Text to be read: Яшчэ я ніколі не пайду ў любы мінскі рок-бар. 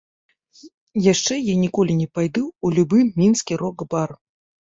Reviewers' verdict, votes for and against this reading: accepted, 2, 0